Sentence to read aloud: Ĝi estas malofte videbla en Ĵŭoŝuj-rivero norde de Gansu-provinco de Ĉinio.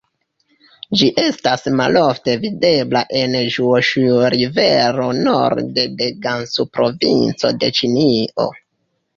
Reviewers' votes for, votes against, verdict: 2, 1, accepted